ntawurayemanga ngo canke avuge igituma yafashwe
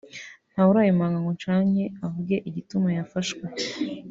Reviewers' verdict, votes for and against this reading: rejected, 1, 2